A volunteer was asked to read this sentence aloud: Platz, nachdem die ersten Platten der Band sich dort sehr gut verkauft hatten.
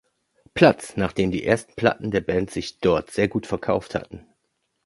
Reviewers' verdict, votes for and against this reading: rejected, 1, 2